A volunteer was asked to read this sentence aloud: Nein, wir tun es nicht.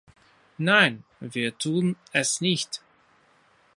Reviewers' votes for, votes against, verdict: 3, 0, accepted